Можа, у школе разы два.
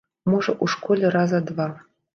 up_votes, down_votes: 1, 2